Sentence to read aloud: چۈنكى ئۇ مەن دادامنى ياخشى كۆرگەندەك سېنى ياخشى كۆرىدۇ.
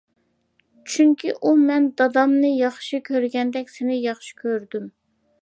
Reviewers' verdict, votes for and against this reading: accepted, 2, 1